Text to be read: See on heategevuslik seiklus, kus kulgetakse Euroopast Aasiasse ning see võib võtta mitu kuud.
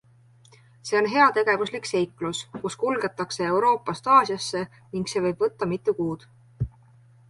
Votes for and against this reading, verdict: 2, 0, accepted